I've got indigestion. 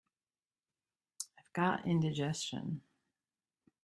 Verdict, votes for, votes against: accepted, 2, 0